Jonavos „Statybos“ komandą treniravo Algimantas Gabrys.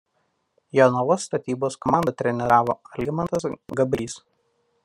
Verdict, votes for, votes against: rejected, 0, 2